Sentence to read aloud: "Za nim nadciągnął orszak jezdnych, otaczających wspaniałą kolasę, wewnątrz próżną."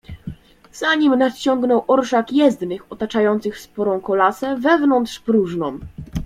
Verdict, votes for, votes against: accepted, 2, 0